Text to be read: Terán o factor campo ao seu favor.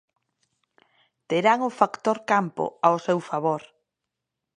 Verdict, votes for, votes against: accepted, 2, 0